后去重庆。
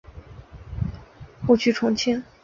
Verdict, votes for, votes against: accepted, 4, 0